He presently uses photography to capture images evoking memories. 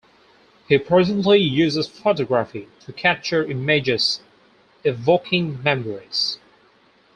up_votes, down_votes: 2, 2